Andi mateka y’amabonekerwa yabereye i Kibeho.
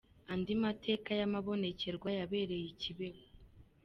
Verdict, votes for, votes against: accepted, 2, 0